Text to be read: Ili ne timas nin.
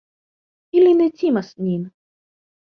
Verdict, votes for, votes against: accepted, 2, 0